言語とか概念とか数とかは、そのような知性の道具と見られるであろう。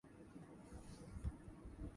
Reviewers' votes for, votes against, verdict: 1, 2, rejected